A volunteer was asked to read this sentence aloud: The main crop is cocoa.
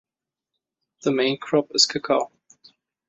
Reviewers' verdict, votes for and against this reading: accepted, 2, 0